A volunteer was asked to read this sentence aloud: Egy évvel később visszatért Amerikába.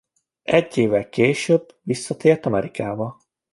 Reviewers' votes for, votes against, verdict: 2, 0, accepted